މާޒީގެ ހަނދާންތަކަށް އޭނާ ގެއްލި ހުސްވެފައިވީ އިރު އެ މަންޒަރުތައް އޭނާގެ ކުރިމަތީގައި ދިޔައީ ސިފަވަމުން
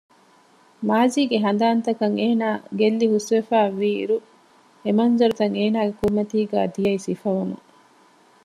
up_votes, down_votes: 1, 2